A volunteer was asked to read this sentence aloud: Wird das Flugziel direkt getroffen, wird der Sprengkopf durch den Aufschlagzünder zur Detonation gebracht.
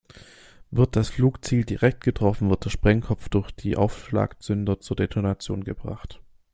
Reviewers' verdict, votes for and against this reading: rejected, 0, 2